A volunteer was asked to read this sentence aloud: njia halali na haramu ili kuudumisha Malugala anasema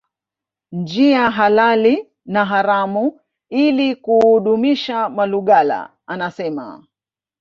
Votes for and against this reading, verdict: 1, 2, rejected